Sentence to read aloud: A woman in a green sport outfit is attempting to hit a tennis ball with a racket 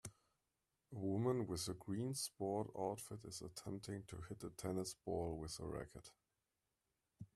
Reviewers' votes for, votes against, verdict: 0, 2, rejected